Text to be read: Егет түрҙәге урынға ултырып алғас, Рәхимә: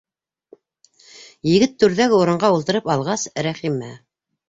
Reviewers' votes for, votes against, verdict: 2, 0, accepted